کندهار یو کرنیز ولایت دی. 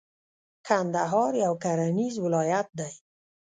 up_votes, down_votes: 1, 2